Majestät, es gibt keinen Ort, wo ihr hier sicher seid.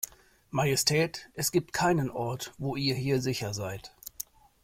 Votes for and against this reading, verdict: 2, 0, accepted